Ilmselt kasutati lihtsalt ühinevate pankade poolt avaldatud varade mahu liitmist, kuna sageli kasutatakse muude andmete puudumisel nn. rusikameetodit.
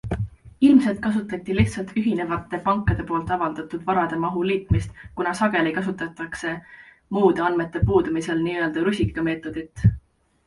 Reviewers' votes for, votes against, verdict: 2, 1, accepted